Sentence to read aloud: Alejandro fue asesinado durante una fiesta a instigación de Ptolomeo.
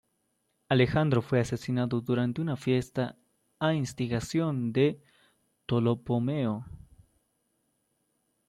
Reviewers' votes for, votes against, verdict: 0, 2, rejected